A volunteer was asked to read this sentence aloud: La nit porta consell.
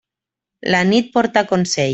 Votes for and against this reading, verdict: 3, 0, accepted